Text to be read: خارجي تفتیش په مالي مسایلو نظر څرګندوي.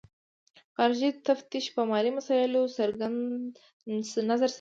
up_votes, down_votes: 1, 2